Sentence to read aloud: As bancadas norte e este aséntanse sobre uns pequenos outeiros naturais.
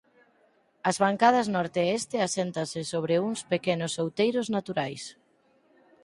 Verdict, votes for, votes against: accepted, 4, 0